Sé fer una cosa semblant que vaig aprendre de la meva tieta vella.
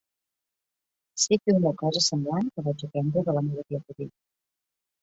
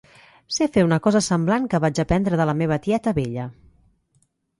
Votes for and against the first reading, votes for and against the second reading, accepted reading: 1, 2, 2, 0, second